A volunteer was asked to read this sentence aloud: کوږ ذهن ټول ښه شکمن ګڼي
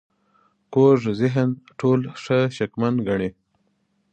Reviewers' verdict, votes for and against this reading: accepted, 2, 0